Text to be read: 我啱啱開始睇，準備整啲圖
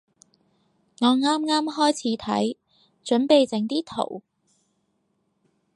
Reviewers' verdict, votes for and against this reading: accepted, 4, 0